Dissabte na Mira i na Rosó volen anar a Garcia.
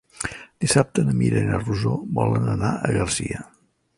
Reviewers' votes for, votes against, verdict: 3, 0, accepted